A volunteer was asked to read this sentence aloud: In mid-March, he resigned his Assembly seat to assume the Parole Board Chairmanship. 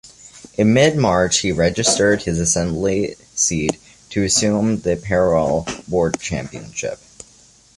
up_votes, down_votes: 0, 2